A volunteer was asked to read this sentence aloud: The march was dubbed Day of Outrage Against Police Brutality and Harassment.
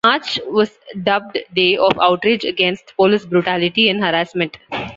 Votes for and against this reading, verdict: 0, 2, rejected